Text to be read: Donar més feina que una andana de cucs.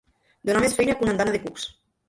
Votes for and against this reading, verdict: 1, 2, rejected